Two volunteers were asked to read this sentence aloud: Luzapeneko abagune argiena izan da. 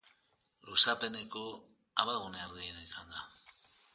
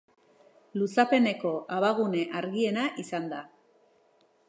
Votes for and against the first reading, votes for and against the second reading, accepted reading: 0, 3, 3, 0, second